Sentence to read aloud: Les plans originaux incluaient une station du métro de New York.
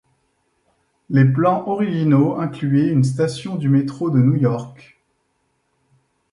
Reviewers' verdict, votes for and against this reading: accepted, 2, 0